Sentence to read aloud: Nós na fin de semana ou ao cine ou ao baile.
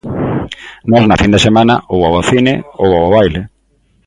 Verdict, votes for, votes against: accepted, 2, 0